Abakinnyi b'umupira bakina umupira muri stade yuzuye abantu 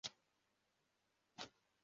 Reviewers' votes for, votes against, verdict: 0, 2, rejected